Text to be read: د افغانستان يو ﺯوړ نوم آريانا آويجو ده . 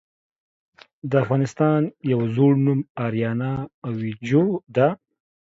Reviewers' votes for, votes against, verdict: 2, 0, accepted